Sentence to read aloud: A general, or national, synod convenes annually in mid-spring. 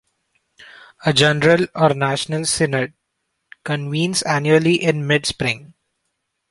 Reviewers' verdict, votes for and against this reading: rejected, 1, 2